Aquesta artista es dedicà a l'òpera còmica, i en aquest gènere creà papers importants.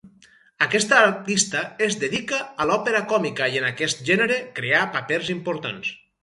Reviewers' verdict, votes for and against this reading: rejected, 0, 4